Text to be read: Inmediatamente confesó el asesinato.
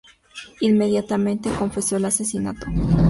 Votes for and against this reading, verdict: 2, 0, accepted